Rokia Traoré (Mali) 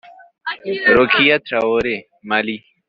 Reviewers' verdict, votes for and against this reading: rejected, 1, 3